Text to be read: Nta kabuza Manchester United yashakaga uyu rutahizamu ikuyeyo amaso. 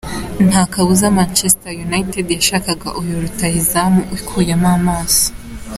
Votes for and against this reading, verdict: 1, 2, rejected